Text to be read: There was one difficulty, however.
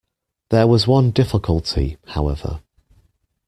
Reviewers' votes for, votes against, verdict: 2, 0, accepted